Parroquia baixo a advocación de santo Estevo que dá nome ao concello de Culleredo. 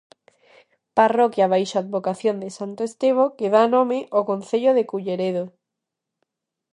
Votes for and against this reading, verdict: 2, 0, accepted